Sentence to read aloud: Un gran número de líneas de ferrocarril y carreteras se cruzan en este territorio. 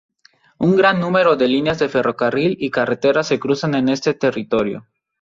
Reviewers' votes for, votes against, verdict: 2, 2, rejected